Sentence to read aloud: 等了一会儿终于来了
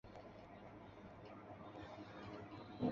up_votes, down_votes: 1, 3